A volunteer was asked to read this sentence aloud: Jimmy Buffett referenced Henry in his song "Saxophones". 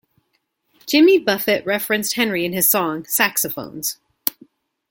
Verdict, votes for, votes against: accepted, 2, 0